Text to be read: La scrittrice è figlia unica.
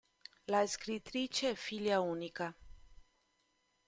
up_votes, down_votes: 2, 0